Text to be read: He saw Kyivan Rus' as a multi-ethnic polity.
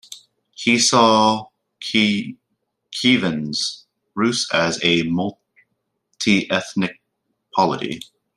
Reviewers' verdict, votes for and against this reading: rejected, 0, 2